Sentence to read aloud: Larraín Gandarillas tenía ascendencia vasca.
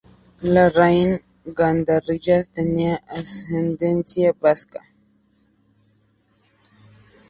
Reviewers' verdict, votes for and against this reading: rejected, 0, 2